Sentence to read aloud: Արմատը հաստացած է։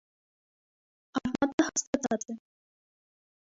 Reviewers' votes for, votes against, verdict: 1, 2, rejected